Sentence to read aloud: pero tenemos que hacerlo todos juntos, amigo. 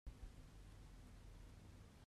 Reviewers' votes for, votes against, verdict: 0, 2, rejected